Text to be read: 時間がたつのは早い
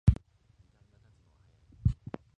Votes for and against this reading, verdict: 1, 2, rejected